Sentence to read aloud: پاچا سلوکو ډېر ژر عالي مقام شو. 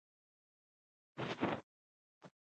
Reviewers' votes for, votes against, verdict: 1, 2, rejected